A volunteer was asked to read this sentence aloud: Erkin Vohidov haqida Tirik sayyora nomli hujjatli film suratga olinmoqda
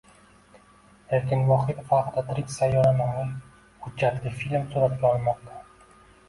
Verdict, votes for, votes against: rejected, 1, 2